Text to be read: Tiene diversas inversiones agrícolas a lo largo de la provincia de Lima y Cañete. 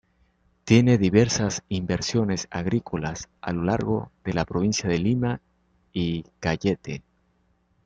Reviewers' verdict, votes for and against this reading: rejected, 0, 2